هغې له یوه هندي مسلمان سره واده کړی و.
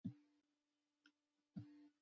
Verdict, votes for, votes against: rejected, 0, 2